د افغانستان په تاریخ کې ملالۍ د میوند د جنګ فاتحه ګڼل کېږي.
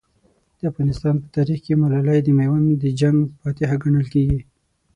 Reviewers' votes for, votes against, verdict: 6, 0, accepted